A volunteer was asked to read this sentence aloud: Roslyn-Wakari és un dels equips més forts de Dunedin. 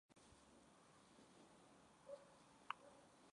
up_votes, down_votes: 0, 2